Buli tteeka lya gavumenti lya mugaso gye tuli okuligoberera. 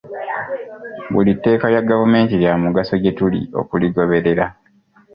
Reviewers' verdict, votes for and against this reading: accepted, 2, 0